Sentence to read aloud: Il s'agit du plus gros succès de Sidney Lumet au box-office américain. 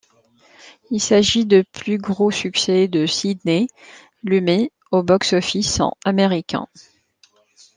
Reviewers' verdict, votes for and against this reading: rejected, 0, 2